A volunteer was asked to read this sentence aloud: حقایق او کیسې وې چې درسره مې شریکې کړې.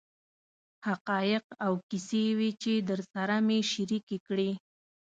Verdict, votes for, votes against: accepted, 2, 0